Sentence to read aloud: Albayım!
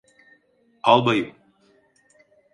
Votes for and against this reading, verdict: 2, 0, accepted